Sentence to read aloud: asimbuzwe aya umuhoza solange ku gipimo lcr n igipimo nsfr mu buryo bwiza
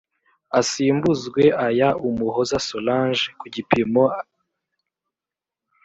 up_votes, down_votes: 0, 2